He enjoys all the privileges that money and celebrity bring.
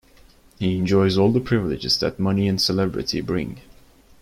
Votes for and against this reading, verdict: 2, 0, accepted